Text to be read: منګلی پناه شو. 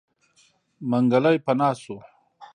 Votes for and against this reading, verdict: 2, 0, accepted